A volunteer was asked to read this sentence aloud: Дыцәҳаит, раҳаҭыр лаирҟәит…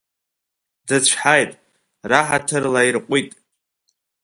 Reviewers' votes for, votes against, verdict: 2, 0, accepted